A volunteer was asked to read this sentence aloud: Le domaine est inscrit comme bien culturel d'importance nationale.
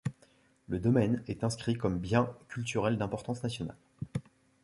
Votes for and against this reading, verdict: 2, 1, accepted